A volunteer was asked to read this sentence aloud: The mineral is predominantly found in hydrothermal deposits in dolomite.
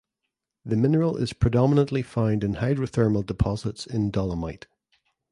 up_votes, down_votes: 2, 0